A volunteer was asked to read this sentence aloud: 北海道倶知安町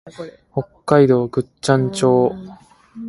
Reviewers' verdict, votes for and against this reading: accepted, 2, 0